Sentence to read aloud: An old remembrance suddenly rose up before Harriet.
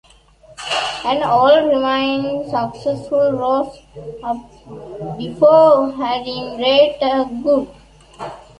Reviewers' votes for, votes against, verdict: 1, 2, rejected